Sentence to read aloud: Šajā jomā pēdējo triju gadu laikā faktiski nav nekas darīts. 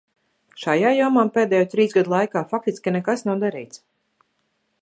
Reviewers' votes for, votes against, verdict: 1, 2, rejected